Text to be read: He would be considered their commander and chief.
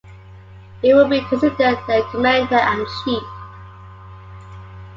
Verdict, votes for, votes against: accepted, 2, 0